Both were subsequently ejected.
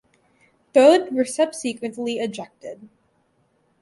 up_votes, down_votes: 2, 2